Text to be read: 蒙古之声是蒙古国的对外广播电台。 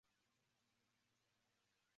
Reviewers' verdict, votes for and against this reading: rejected, 1, 4